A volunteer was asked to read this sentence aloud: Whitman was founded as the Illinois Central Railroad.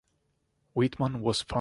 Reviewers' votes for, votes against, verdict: 0, 2, rejected